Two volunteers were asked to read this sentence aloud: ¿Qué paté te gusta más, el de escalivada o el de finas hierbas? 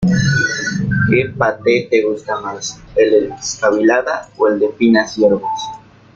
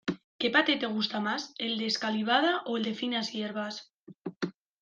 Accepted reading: second